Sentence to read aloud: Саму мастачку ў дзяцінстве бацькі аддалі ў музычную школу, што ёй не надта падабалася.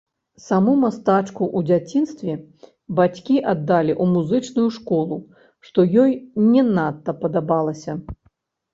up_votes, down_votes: 0, 2